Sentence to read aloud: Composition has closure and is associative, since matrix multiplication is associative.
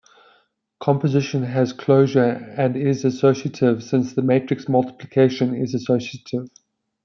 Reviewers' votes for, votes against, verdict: 1, 2, rejected